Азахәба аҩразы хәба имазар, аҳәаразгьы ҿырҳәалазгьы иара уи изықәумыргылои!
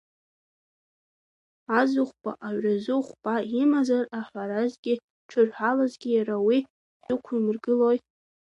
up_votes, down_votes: 2, 0